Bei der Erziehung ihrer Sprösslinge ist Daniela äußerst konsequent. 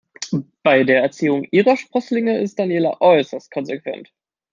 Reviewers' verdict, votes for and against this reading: rejected, 1, 2